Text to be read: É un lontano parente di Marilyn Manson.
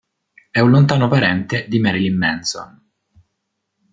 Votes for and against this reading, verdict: 2, 0, accepted